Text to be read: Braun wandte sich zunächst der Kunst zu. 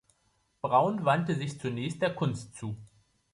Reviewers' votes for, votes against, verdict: 2, 0, accepted